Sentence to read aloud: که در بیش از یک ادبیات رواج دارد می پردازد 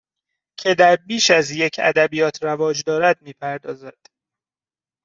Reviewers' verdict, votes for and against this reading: accepted, 2, 0